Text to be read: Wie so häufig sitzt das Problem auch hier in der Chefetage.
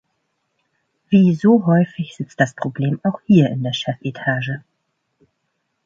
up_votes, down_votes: 2, 0